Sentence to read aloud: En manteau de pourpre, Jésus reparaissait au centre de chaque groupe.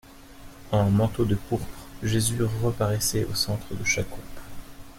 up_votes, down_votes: 2, 0